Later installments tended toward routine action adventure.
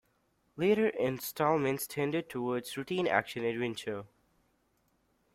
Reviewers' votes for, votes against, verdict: 0, 2, rejected